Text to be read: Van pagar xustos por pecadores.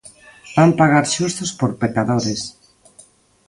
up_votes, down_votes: 2, 0